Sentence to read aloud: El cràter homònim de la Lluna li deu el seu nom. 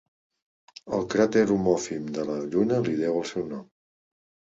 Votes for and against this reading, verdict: 0, 2, rejected